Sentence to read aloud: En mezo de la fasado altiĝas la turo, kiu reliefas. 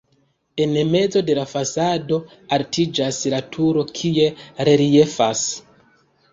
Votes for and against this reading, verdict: 1, 2, rejected